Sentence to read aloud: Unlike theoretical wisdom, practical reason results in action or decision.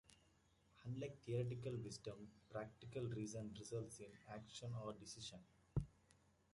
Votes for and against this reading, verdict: 2, 0, accepted